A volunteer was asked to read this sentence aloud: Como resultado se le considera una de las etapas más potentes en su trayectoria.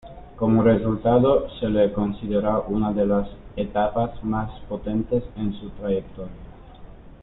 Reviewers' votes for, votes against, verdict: 1, 2, rejected